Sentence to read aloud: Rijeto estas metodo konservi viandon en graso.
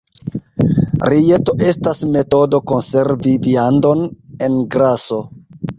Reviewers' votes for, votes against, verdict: 2, 0, accepted